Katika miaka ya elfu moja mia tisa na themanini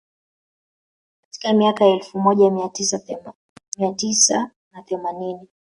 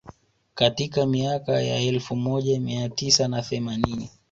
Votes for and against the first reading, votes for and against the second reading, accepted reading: 1, 2, 2, 1, second